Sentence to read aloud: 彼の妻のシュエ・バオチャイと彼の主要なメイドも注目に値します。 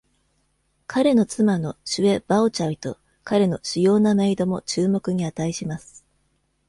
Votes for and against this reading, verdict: 2, 0, accepted